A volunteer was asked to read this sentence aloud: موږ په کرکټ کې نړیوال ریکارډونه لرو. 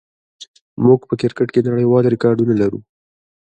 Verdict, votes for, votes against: accepted, 2, 1